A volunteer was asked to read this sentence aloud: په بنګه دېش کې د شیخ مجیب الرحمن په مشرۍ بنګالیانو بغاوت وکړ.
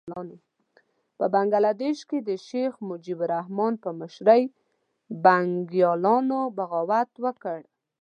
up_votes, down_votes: 1, 2